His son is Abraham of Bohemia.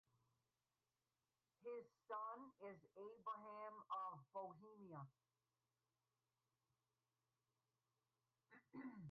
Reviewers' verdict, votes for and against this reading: rejected, 2, 2